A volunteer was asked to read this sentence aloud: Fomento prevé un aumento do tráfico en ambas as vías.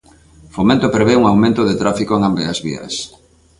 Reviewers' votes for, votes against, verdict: 0, 2, rejected